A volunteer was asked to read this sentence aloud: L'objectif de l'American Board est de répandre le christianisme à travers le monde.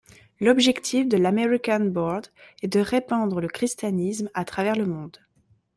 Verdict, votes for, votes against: accepted, 2, 0